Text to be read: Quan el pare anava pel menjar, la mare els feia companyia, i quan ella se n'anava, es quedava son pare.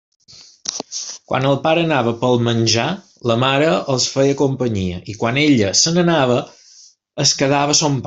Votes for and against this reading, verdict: 1, 2, rejected